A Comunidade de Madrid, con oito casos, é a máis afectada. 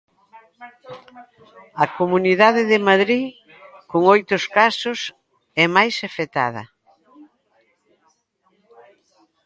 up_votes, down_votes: 0, 2